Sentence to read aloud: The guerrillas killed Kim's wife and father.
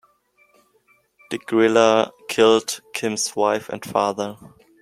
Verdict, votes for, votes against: rejected, 0, 2